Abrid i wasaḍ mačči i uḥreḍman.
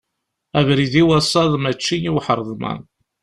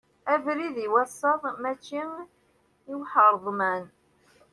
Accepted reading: first